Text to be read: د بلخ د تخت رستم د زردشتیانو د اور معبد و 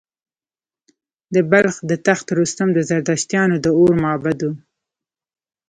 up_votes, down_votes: 1, 2